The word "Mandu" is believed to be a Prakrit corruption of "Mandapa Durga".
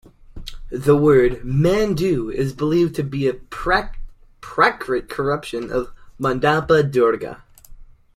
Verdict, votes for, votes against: rejected, 0, 2